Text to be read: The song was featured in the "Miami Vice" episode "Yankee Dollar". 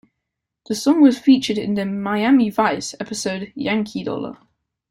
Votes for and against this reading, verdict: 2, 0, accepted